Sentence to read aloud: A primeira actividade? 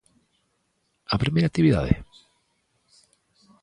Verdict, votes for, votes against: accepted, 2, 0